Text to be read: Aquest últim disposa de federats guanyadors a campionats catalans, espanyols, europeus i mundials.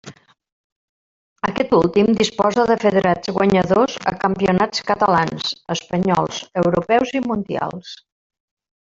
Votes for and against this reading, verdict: 1, 2, rejected